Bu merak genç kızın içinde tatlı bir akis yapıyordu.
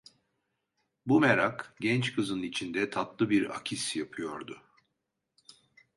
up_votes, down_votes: 2, 0